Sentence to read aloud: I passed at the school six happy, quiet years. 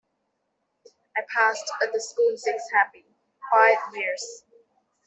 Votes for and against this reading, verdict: 2, 1, accepted